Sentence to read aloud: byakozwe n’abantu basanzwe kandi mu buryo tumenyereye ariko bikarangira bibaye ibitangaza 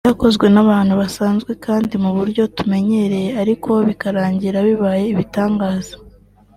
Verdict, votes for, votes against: accepted, 3, 1